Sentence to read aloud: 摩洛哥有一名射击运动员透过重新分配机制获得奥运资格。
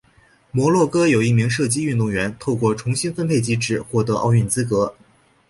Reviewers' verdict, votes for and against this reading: accepted, 2, 0